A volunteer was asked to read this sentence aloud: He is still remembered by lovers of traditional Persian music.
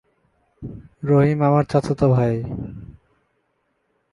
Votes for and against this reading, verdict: 0, 2, rejected